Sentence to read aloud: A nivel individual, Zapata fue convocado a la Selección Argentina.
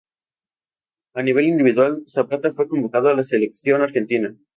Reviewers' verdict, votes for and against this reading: rejected, 2, 2